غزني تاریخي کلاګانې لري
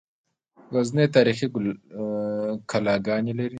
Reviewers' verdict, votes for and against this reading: rejected, 1, 2